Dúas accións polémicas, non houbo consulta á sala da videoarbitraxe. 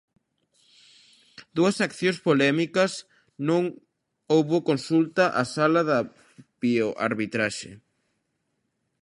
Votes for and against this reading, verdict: 0, 3, rejected